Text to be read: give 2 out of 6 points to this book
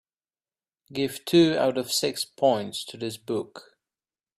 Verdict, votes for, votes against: rejected, 0, 2